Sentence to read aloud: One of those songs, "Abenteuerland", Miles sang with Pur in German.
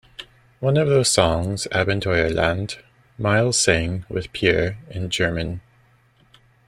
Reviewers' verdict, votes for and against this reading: accepted, 2, 1